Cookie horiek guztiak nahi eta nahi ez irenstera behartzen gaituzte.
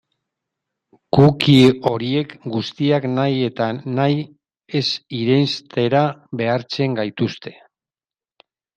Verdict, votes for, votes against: accepted, 3, 1